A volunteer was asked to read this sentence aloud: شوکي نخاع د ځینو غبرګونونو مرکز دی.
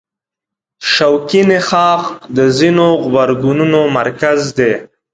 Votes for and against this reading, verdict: 2, 0, accepted